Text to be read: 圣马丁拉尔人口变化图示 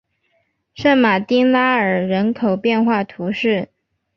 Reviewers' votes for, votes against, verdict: 4, 1, accepted